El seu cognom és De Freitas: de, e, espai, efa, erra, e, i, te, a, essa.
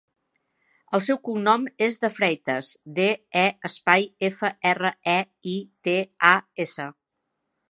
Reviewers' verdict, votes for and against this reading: accepted, 2, 0